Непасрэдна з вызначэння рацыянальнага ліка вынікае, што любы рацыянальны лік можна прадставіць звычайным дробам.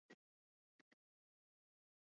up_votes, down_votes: 0, 2